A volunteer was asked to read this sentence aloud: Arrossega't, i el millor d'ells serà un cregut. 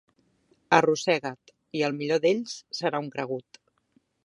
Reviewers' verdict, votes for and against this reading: accepted, 6, 0